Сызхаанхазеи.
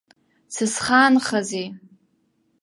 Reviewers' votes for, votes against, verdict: 1, 2, rejected